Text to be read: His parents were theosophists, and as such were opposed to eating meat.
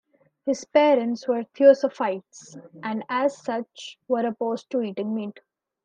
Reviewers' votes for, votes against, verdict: 1, 2, rejected